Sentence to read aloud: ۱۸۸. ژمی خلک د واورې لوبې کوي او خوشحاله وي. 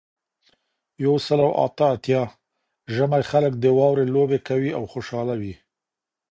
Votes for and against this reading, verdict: 0, 2, rejected